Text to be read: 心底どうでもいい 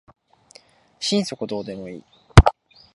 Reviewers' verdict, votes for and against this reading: accepted, 11, 3